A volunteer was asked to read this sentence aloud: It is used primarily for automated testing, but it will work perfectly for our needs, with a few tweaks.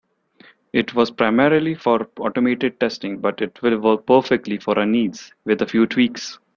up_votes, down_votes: 0, 2